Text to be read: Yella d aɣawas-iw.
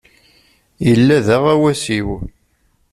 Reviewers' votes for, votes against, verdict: 2, 0, accepted